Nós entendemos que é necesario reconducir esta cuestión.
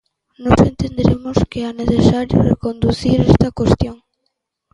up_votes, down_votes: 1, 2